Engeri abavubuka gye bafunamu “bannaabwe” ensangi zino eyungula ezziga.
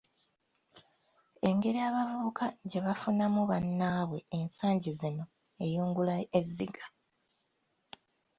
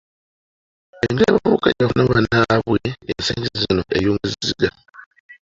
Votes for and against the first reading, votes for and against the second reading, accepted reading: 2, 1, 0, 2, first